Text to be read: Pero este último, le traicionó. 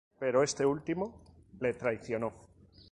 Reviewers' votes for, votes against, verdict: 2, 0, accepted